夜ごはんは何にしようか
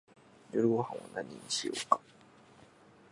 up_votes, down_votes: 2, 0